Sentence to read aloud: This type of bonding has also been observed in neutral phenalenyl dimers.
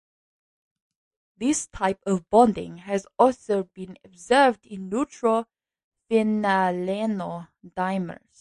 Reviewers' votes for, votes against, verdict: 0, 2, rejected